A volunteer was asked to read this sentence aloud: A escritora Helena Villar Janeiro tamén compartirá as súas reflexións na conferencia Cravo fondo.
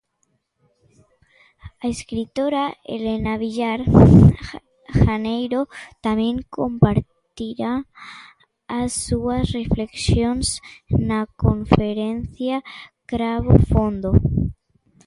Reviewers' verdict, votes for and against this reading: rejected, 0, 2